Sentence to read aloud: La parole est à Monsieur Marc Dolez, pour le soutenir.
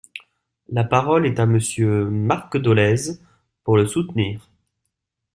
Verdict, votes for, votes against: accepted, 2, 0